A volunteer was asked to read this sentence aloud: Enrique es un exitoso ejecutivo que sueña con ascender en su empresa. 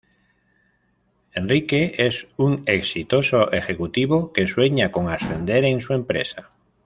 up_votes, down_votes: 2, 0